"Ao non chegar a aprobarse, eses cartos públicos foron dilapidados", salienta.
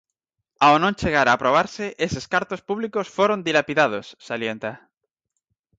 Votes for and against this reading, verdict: 4, 0, accepted